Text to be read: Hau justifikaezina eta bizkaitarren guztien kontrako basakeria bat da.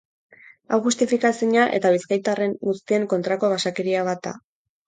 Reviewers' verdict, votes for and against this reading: accepted, 4, 0